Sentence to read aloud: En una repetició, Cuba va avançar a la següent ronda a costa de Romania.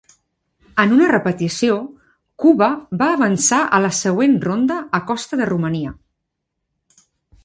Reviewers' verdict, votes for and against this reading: accepted, 3, 0